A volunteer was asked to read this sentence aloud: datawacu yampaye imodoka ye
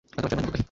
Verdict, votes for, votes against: accepted, 2, 1